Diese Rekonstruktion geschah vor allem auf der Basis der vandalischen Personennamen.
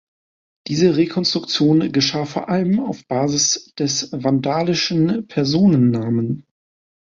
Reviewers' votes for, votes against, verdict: 0, 2, rejected